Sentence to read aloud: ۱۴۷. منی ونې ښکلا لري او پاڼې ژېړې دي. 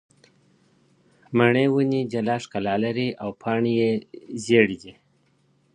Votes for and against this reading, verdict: 0, 2, rejected